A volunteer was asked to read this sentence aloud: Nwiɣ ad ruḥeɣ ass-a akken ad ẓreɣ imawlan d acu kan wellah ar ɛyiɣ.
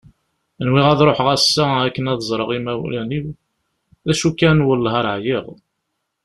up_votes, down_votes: 0, 2